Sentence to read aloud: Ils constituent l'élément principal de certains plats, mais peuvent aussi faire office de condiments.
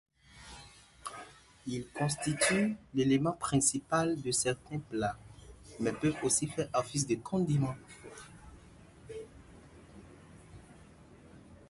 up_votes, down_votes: 2, 0